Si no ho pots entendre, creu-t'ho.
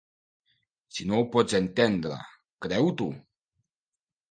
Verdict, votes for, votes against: accepted, 2, 0